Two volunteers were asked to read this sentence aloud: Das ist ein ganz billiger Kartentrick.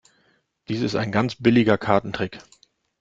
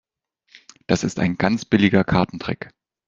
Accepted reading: second